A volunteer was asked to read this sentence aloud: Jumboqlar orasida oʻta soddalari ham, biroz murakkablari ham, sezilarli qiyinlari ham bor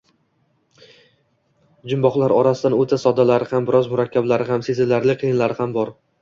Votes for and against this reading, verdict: 0, 2, rejected